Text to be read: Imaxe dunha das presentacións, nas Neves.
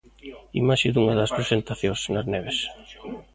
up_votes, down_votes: 0, 2